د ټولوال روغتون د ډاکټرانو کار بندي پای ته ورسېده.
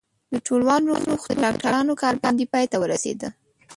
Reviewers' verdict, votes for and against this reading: rejected, 1, 3